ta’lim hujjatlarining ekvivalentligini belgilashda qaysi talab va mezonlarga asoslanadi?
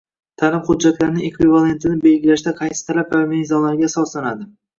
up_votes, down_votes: 1, 2